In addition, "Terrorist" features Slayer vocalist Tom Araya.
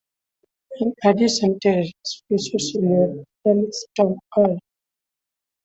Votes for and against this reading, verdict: 2, 0, accepted